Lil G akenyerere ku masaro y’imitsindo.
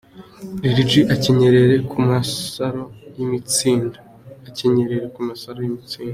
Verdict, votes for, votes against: accepted, 2, 0